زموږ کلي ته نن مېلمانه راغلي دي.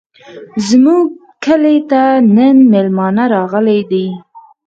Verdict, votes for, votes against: rejected, 2, 4